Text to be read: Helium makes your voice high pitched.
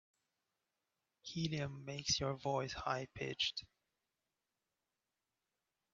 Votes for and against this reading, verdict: 2, 0, accepted